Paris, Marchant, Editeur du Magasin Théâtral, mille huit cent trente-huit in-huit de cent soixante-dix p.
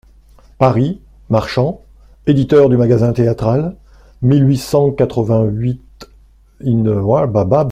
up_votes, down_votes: 0, 2